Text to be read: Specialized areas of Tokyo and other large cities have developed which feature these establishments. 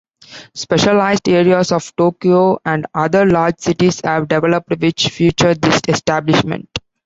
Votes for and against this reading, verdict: 2, 1, accepted